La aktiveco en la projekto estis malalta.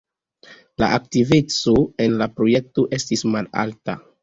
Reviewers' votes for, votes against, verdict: 3, 0, accepted